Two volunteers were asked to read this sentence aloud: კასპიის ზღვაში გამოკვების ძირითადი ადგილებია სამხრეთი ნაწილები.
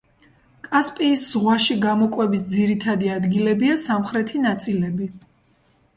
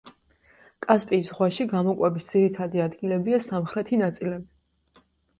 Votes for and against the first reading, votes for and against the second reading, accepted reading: 1, 2, 2, 0, second